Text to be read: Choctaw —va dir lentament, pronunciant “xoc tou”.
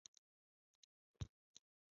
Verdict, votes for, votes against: rejected, 0, 2